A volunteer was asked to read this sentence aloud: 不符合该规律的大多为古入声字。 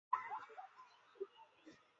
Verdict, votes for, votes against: rejected, 1, 2